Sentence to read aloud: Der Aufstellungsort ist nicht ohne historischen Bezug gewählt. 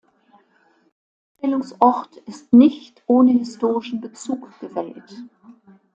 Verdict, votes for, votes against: rejected, 0, 2